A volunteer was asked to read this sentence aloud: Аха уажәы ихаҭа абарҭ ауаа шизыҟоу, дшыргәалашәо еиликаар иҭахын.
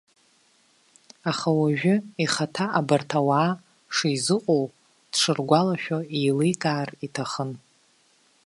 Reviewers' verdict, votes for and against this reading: accepted, 2, 1